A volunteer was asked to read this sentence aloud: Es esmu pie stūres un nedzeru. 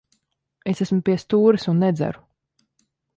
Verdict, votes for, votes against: accepted, 3, 0